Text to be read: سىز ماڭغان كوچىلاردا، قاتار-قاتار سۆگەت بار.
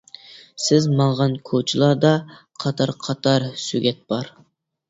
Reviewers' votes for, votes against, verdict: 2, 0, accepted